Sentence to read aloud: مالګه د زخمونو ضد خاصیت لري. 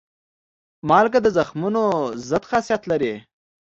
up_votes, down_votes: 3, 0